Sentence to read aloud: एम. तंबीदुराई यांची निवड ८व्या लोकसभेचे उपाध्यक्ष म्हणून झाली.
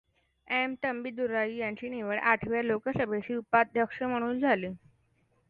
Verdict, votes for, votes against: rejected, 0, 2